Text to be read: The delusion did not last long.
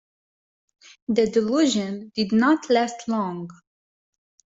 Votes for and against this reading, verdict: 2, 0, accepted